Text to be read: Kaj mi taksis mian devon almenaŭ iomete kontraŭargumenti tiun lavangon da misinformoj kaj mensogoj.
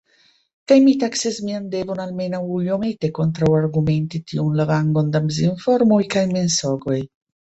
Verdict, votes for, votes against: rejected, 0, 2